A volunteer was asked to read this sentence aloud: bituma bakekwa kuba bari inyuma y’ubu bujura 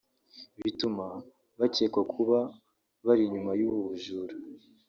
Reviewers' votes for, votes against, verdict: 0, 2, rejected